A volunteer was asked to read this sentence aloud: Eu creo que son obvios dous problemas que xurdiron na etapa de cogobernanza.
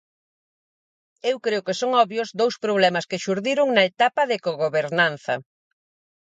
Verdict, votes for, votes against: accepted, 4, 0